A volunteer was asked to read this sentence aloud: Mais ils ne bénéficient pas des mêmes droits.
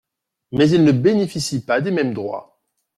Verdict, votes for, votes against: accepted, 2, 0